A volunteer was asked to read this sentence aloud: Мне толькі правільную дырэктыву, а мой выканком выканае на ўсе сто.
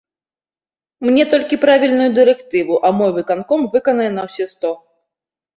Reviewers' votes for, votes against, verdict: 2, 0, accepted